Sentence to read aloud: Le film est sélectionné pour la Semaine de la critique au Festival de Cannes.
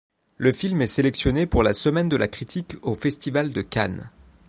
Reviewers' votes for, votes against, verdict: 2, 0, accepted